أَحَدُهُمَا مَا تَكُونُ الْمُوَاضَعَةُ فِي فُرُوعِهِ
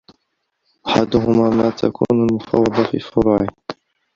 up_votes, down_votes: 0, 2